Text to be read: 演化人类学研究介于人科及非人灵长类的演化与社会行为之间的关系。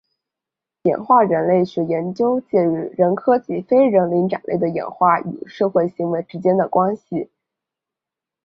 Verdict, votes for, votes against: accepted, 2, 0